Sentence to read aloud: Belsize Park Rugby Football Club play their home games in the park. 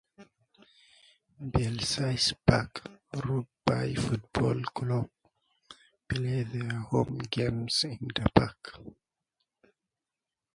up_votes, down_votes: 0, 2